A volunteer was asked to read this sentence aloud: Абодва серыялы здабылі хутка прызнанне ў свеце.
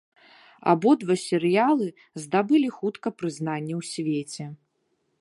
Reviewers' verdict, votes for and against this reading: accepted, 2, 0